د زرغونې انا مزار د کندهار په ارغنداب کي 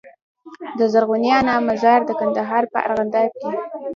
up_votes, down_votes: 2, 0